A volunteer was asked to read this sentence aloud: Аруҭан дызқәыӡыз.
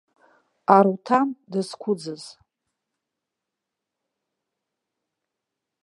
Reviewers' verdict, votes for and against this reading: accepted, 2, 1